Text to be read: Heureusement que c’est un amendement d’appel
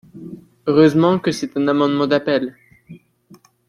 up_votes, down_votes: 0, 2